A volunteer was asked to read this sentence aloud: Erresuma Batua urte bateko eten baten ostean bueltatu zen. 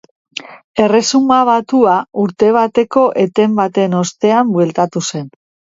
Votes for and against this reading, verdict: 2, 0, accepted